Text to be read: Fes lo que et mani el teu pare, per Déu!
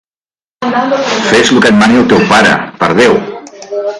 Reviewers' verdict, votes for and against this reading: rejected, 0, 2